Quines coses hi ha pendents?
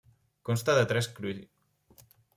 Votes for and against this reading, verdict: 0, 2, rejected